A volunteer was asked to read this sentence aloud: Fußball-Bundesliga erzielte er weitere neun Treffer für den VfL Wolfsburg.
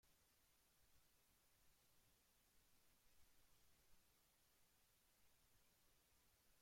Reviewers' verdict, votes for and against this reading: rejected, 0, 2